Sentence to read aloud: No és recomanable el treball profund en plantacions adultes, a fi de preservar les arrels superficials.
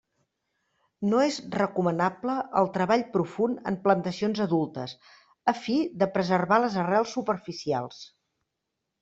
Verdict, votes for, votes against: accepted, 3, 0